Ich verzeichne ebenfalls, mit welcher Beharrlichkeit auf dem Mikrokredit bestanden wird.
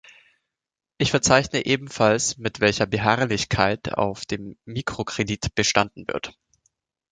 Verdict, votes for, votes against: accepted, 2, 0